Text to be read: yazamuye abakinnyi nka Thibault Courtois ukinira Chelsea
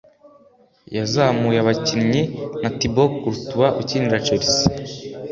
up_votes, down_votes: 3, 0